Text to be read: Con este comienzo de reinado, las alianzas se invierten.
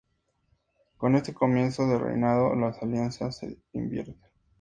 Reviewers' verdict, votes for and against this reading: accepted, 2, 0